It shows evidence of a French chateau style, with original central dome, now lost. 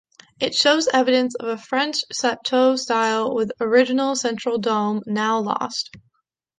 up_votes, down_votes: 2, 0